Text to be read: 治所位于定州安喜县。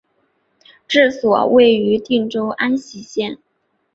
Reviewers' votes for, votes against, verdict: 4, 1, accepted